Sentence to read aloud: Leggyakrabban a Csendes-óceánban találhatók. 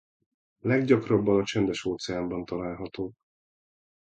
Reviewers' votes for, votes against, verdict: 0, 2, rejected